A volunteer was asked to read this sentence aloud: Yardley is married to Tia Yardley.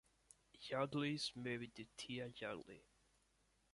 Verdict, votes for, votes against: accepted, 2, 1